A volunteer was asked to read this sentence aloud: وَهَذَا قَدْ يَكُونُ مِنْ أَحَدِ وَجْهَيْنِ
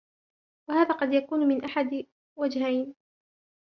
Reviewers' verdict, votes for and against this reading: accepted, 2, 0